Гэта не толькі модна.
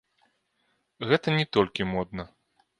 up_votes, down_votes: 2, 0